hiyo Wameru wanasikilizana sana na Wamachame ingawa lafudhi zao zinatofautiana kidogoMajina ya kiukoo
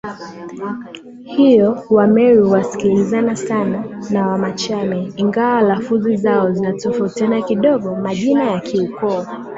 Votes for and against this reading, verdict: 3, 3, rejected